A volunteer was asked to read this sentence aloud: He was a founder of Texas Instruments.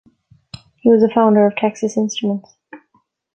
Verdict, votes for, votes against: accepted, 2, 0